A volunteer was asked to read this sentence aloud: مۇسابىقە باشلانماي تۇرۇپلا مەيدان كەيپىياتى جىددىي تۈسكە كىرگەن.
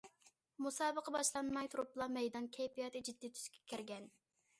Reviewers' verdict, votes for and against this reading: accepted, 2, 0